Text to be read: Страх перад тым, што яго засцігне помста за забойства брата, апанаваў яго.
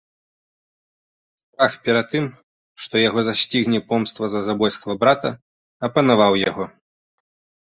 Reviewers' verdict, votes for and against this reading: rejected, 0, 2